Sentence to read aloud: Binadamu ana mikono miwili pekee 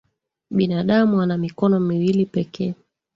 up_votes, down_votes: 2, 1